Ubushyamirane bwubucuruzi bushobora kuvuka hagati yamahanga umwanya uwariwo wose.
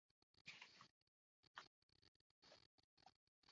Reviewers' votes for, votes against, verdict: 0, 2, rejected